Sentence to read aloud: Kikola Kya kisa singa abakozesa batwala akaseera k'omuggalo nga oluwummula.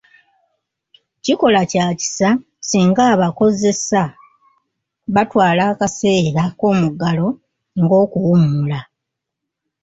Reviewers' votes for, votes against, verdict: 1, 2, rejected